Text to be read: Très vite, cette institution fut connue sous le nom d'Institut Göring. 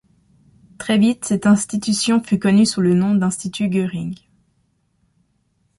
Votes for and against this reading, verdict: 2, 0, accepted